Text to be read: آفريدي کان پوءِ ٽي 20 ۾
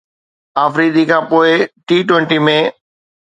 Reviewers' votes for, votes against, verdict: 0, 2, rejected